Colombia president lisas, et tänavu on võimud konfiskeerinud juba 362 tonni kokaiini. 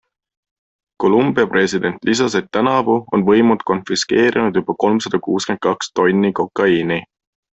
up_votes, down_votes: 0, 2